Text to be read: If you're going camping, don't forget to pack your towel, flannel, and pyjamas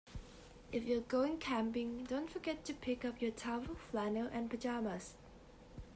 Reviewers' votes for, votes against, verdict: 0, 2, rejected